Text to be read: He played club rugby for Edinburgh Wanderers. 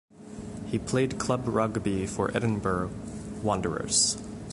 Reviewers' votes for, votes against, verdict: 0, 2, rejected